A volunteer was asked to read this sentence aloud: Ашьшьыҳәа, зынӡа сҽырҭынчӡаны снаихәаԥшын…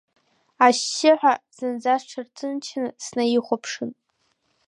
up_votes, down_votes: 1, 2